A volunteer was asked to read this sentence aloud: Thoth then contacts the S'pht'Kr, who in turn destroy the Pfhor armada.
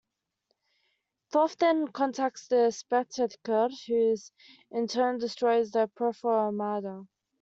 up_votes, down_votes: 1, 2